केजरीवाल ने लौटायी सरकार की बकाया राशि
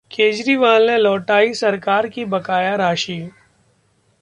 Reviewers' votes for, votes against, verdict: 2, 0, accepted